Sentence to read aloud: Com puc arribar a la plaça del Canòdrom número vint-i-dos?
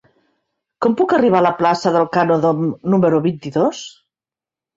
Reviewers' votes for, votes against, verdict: 0, 2, rejected